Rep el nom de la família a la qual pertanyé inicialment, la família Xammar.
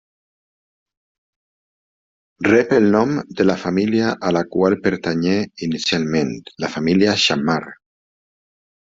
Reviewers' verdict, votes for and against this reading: accepted, 2, 0